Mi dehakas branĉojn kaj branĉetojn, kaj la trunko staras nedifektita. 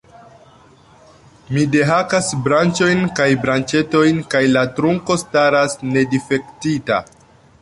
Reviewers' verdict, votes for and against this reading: accepted, 2, 0